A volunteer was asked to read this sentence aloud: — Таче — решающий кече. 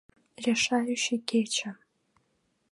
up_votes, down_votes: 1, 2